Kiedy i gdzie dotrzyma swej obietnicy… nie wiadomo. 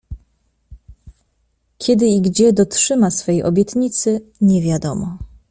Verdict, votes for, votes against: accepted, 2, 0